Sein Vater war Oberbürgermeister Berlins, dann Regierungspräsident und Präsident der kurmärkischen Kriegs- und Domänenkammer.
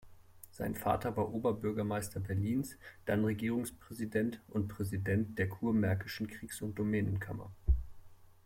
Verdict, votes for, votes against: accepted, 2, 0